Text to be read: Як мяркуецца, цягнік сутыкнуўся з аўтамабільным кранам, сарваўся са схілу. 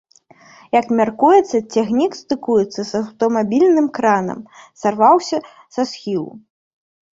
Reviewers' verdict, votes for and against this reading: rejected, 1, 2